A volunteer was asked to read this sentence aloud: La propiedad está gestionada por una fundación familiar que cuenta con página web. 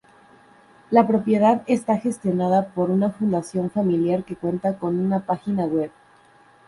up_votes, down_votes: 0, 2